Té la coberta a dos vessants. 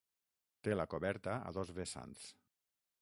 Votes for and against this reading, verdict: 3, 6, rejected